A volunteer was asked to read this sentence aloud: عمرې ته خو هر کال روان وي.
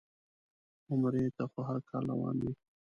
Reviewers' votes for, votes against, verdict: 3, 0, accepted